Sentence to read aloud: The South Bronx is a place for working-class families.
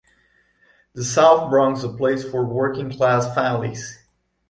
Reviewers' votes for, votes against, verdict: 1, 2, rejected